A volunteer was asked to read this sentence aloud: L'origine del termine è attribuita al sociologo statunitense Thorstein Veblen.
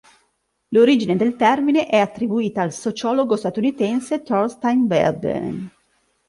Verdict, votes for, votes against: rejected, 1, 2